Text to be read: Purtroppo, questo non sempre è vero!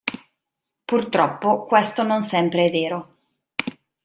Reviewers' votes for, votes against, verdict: 2, 0, accepted